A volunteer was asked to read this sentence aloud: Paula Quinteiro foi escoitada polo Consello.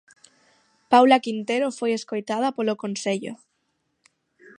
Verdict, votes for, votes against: rejected, 3, 6